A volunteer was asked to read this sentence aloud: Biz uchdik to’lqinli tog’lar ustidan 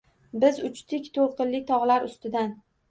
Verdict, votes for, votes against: accepted, 2, 0